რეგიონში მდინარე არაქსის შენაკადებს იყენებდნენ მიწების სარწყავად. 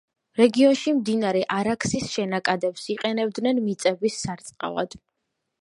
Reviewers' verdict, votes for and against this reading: accepted, 2, 0